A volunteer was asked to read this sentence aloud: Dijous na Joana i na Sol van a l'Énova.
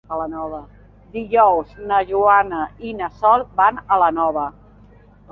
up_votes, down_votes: 1, 2